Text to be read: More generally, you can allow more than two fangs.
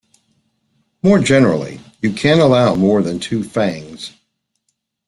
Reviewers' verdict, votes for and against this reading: accepted, 2, 0